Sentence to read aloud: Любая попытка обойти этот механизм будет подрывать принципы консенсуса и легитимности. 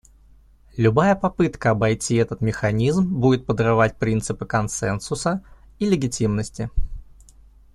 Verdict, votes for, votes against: accepted, 2, 0